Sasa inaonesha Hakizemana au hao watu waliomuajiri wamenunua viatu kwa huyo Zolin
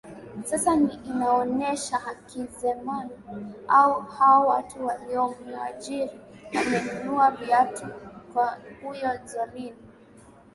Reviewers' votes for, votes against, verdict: 5, 2, accepted